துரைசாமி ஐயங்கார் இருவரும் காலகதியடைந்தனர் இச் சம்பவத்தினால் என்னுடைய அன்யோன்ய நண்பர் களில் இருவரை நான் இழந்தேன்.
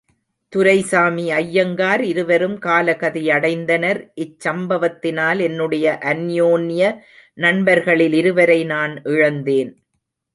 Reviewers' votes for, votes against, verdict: 1, 2, rejected